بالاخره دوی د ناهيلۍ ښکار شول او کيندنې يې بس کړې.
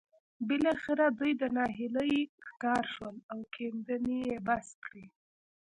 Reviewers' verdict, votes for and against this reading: rejected, 0, 2